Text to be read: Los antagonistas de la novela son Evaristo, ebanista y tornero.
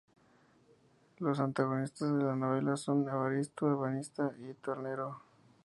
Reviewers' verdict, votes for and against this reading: accepted, 2, 0